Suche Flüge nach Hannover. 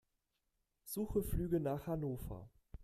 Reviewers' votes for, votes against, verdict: 2, 0, accepted